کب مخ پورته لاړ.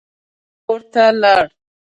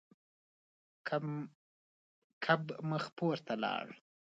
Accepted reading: second